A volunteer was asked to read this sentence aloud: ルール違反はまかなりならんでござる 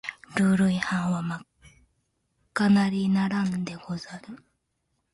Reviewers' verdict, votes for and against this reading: rejected, 1, 2